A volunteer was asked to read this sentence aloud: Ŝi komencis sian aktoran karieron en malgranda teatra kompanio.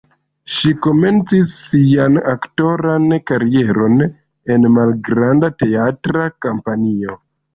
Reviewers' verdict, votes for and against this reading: rejected, 0, 2